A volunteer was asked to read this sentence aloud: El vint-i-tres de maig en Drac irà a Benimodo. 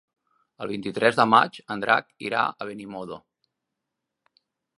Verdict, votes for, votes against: accepted, 3, 0